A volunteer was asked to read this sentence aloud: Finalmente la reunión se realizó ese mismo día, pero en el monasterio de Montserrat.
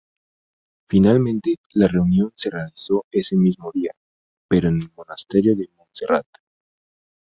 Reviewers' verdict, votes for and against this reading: rejected, 0, 2